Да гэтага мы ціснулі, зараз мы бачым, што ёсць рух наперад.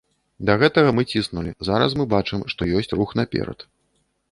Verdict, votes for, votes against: accepted, 2, 0